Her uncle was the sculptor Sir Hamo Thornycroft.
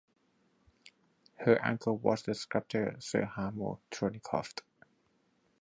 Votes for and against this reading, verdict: 2, 4, rejected